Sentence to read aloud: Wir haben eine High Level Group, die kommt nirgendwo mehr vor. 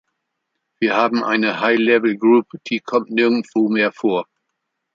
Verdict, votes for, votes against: accepted, 2, 0